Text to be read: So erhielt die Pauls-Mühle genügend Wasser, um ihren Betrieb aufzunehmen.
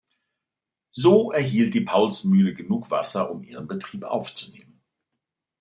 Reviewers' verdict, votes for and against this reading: rejected, 1, 2